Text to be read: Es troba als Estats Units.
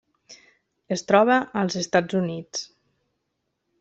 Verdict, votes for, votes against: accepted, 3, 0